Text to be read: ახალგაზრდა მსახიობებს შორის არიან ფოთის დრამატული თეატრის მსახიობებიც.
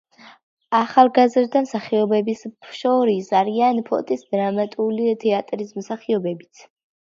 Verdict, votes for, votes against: accepted, 2, 1